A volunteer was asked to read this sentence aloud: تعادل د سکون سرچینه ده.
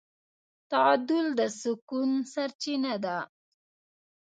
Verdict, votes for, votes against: rejected, 1, 2